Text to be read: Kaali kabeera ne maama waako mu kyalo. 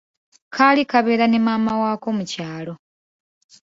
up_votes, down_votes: 2, 0